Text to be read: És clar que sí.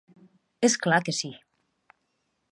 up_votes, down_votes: 2, 0